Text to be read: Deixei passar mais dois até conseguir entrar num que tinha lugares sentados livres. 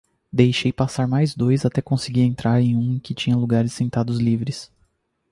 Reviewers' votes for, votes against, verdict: 2, 2, rejected